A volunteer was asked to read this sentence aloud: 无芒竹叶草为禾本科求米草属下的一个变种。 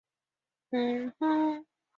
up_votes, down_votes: 1, 2